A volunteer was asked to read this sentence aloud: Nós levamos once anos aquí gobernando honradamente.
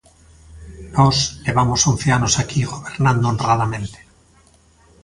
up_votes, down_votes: 1, 2